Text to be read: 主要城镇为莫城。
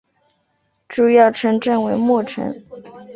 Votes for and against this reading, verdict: 2, 0, accepted